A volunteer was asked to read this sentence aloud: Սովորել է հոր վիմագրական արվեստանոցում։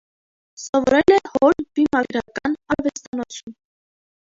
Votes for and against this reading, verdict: 1, 2, rejected